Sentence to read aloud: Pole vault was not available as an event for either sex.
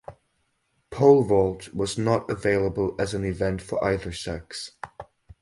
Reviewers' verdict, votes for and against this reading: accepted, 2, 0